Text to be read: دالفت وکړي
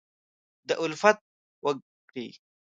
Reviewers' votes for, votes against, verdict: 0, 2, rejected